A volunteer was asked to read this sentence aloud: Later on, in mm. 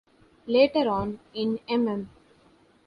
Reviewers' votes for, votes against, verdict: 2, 0, accepted